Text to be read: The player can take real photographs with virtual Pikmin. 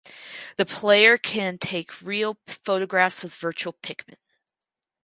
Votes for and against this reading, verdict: 2, 2, rejected